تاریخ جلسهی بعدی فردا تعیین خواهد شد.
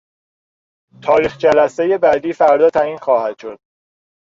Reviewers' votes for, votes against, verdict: 1, 2, rejected